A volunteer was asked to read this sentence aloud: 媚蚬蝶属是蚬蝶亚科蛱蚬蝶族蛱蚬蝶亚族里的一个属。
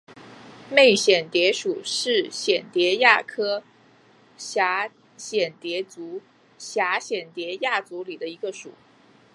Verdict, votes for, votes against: accepted, 2, 1